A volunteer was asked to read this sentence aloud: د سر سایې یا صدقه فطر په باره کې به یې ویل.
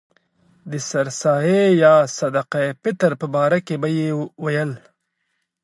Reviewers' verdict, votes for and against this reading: accepted, 2, 0